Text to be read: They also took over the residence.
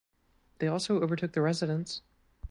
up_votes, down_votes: 1, 2